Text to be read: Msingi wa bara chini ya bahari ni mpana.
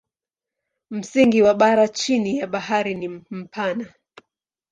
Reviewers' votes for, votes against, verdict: 6, 0, accepted